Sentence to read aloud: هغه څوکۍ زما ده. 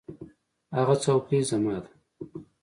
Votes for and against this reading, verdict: 2, 0, accepted